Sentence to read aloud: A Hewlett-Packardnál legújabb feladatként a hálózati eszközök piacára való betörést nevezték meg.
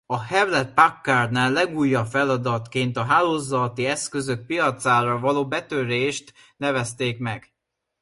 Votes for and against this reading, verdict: 0, 2, rejected